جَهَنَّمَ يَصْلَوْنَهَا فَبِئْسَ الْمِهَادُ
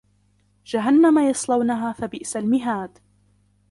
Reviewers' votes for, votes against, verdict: 2, 1, accepted